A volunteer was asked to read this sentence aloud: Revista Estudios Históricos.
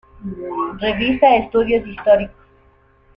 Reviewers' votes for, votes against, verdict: 2, 1, accepted